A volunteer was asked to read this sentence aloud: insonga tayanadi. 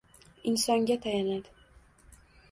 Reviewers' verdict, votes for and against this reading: rejected, 1, 2